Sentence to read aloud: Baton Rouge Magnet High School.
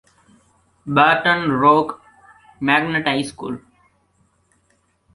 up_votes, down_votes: 1, 2